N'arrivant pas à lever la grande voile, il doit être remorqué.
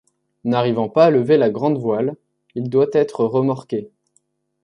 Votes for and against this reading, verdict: 2, 0, accepted